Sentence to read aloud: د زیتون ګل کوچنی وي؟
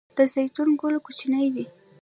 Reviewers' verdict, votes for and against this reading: rejected, 1, 2